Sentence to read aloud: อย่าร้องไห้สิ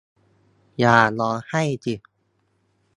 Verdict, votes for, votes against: rejected, 0, 2